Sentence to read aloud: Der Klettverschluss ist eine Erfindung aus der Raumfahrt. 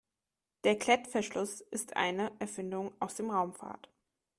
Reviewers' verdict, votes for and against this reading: rejected, 2, 3